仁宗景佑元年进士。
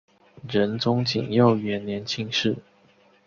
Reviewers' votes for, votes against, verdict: 2, 0, accepted